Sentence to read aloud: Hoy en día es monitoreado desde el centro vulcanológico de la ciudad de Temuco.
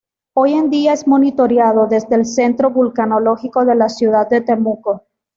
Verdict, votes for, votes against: accepted, 2, 0